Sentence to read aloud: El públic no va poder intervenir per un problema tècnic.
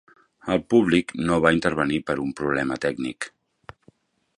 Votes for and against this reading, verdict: 1, 2, rejected